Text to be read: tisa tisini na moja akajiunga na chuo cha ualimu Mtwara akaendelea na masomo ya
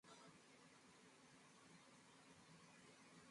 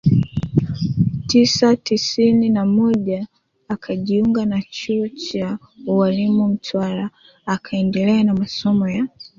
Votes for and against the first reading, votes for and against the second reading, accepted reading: 0, 2, 3, 1, second